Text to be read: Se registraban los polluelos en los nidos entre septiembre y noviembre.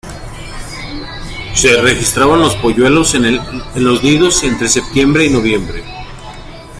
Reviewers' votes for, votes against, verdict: 1, 2, rejected